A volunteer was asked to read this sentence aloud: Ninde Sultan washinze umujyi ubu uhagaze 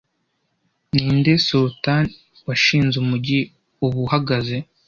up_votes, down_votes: 2, 0